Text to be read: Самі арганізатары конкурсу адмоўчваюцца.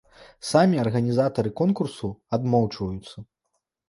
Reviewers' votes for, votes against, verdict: 2, 0, accepted